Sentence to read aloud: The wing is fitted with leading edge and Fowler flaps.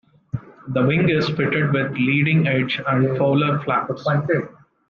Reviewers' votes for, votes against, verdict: 1, 2, rejected